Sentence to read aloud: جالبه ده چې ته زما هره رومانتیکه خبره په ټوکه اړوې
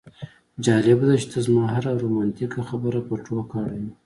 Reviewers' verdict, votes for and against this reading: accepted, 2, 0